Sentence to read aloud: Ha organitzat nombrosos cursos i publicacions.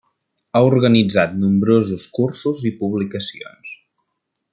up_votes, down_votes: 1, 2